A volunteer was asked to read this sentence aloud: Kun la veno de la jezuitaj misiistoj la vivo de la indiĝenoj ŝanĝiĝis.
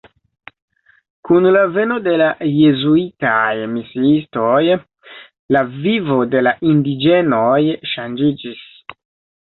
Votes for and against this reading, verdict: 2, 0, accepted